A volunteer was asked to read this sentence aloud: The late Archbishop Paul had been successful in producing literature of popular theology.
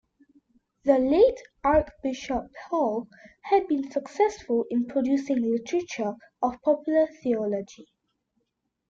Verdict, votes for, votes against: accepted, 2, 0